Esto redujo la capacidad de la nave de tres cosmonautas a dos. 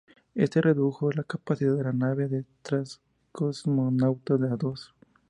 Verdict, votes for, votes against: rejected, 0, 4